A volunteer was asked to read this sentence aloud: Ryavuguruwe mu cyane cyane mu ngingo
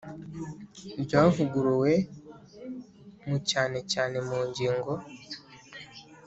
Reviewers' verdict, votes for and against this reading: accepted, 2, 0